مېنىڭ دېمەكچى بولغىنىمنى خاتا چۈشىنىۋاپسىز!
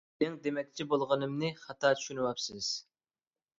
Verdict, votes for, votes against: accepted, 2, 1